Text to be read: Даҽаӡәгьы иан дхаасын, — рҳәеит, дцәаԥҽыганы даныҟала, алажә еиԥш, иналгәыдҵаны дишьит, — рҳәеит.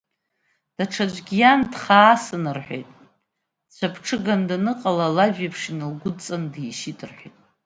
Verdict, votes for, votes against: accepted, 2, 0